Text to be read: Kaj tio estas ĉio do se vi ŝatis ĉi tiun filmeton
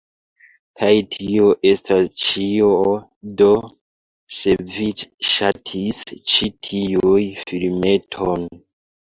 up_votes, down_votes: 2, 1